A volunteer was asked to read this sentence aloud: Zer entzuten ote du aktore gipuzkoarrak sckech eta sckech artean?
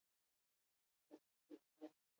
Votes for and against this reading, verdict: 0, 4, rejected